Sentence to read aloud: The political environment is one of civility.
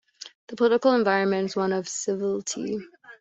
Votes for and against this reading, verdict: 0, 2, rejected